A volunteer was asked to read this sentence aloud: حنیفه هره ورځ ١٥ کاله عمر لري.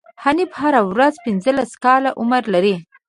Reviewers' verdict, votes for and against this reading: rejected, 0, 2